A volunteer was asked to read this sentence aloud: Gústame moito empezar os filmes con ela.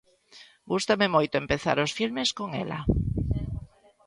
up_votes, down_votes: 2, 1